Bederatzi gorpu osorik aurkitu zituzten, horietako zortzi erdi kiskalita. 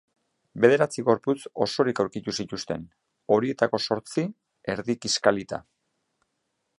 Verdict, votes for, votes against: accepted, 5, 1